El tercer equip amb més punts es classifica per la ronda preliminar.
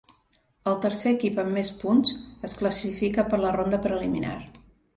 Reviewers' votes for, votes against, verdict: 2, 0, accepted